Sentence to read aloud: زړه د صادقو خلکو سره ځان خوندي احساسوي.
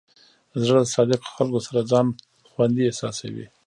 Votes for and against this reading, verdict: 1, 2, rejected